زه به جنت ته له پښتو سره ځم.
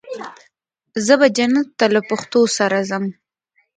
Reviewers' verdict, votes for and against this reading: accepted, 3, 2